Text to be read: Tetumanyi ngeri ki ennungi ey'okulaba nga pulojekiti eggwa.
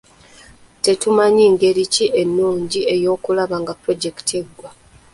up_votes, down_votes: 1, 2